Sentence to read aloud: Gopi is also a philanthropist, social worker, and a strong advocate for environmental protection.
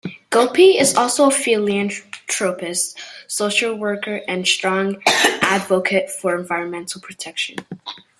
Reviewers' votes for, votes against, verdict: 2, 1, accepted